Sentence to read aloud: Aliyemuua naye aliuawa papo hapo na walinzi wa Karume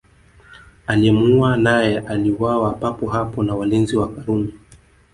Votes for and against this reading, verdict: 2, 1, accepted